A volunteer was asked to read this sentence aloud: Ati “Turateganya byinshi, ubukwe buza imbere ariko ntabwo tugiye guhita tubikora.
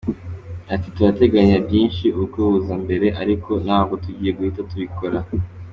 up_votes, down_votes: 2, 1